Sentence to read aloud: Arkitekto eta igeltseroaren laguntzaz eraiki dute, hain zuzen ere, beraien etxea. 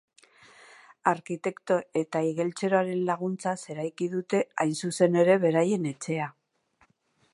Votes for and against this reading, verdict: 2, 0, accepted